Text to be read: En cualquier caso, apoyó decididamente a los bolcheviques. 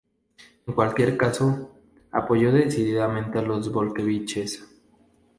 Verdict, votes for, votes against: accepted, 2, 0